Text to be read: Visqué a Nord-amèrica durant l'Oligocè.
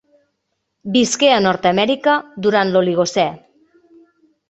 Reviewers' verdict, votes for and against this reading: accepted, 2, 0